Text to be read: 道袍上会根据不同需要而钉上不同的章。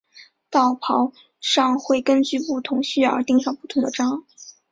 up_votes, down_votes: 2, 0